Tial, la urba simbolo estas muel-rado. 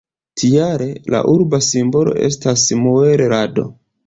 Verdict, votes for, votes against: accepted, 2, 0